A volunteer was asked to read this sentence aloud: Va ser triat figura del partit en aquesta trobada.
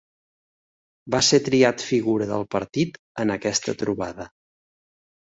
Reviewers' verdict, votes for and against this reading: accepted, 3, 0